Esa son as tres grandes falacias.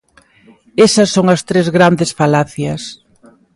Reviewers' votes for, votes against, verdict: 2, 1, accepted